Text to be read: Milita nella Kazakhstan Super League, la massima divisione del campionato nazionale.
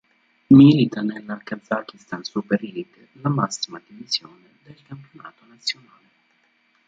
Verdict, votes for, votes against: rejected, 1, 2